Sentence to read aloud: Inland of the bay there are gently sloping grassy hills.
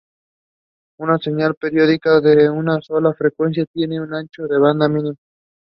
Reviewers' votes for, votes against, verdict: 0, 2, rejected